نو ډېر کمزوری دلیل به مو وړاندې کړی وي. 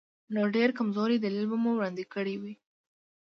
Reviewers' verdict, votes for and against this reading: accepted, 2, 0